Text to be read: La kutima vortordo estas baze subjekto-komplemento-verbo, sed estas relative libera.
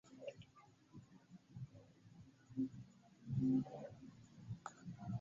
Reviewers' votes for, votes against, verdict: 2, 1, accepted